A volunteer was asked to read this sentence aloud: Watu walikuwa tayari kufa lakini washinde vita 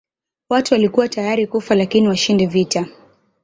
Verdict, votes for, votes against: rejected, 0, 2